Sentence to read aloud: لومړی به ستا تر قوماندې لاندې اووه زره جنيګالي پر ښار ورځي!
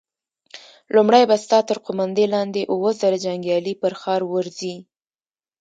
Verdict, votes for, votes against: accepted, 2, 0